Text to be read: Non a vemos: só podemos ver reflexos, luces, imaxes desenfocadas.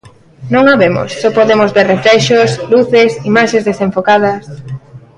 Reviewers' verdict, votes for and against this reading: rejected, 1, 2